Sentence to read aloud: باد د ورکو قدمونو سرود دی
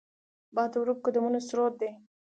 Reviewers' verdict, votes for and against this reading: rejected, 1, 2